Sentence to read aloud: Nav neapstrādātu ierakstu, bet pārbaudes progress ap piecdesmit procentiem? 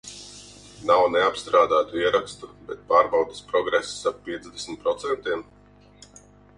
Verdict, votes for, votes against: rejected, 2, 2